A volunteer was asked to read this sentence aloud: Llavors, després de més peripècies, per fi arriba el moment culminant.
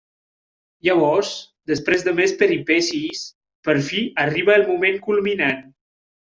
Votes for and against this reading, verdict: 1, 2, rejected